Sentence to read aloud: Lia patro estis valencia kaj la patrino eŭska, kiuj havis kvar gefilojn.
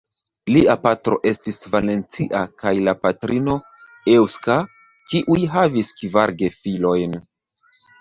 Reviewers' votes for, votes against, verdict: 1, 2, rejected